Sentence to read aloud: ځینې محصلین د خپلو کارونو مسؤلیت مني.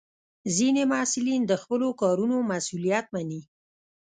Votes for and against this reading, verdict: 1, 2, rejected